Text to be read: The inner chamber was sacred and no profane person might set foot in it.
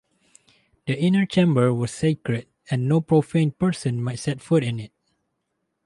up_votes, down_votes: 0, 2